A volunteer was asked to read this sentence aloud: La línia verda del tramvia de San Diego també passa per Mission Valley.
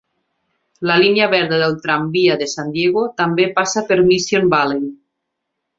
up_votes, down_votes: 4, 0